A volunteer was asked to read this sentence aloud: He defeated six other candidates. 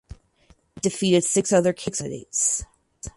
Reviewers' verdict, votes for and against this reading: rejected, 2, 2